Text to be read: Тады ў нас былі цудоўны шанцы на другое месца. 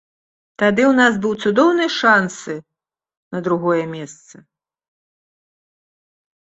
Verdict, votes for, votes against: rejected, 1, 2